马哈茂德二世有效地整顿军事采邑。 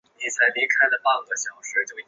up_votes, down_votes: 0, 5